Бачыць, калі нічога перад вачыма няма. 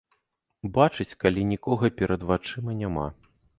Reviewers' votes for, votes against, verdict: 0, 2, rejected